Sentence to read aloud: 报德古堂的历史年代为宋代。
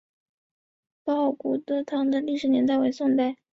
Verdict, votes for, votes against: accepted, 2, 0